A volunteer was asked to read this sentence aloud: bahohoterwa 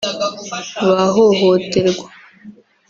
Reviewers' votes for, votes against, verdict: 0, 2, rejected